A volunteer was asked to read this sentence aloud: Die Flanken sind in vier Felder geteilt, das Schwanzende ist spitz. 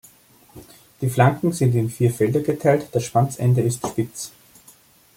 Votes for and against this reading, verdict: 2, 0, accepted